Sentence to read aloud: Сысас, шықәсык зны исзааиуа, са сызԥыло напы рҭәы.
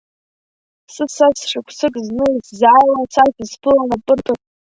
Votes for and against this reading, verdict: 0, 2, rejected